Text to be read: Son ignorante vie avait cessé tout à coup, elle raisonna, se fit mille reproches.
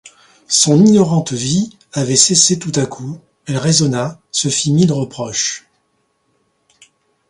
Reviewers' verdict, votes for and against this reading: accepted, 2, 0